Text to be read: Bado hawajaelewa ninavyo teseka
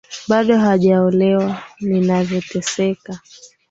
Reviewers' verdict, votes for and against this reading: rejected, 0, 2